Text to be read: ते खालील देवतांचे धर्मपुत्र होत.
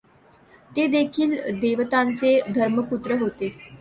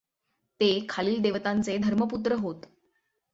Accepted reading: second